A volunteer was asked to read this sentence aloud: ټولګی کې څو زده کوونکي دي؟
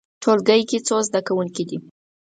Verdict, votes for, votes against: accepted, 4, 0